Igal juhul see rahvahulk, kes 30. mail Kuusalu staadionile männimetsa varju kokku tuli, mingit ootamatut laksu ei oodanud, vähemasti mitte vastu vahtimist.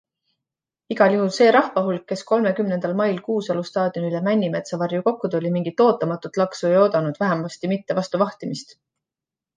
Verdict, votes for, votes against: rejected, 0, 2